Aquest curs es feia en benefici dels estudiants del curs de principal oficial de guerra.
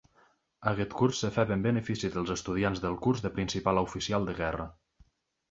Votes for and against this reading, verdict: 1, 2, rejected